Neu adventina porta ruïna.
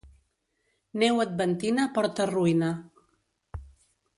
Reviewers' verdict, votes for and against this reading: accepted, 2, 0